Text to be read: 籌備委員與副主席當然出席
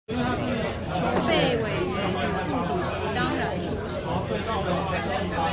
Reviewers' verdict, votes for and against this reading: rejected, 0, 2